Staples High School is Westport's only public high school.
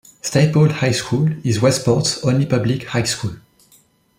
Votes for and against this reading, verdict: 0, 2, rejected